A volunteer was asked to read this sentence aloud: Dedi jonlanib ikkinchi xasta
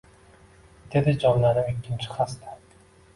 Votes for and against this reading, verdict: 2, 0, accepted